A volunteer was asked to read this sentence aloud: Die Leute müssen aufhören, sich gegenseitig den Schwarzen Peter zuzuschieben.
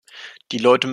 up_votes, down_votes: 0, 2